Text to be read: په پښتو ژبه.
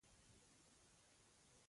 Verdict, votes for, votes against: rejected, 0, 2